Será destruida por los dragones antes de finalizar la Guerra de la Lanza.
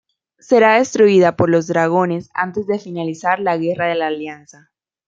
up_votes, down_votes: 1, 2